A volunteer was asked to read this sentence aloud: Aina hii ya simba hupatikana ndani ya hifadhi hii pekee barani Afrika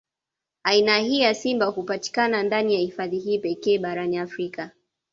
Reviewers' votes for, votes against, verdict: 2, 0, accepted